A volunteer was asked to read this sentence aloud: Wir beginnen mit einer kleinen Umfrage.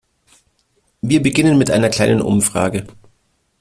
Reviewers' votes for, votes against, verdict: 2, 0, accepted